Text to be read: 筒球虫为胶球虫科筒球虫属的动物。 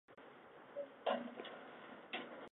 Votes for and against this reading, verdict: 1, 5, rejected